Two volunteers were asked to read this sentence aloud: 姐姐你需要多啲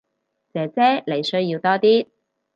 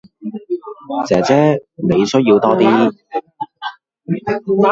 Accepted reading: first